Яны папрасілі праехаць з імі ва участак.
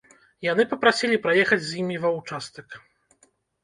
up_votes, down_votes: 2, 0